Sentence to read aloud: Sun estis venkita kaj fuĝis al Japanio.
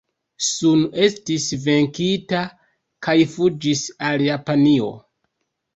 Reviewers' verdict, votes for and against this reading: rejected, 1, 2